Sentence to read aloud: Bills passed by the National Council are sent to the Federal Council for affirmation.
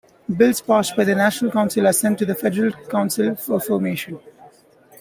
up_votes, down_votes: 2, 0